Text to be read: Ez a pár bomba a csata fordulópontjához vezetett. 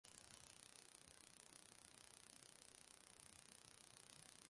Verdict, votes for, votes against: rejected, 0, 2